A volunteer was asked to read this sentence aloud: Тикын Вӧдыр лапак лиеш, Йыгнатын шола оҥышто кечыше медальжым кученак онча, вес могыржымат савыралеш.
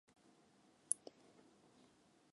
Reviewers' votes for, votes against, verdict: 0, 2, rejected